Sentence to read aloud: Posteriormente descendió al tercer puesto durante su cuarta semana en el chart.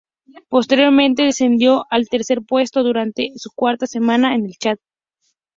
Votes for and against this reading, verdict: 2, 2, rejected